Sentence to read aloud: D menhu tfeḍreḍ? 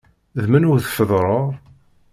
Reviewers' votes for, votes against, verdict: 2, 0, accepted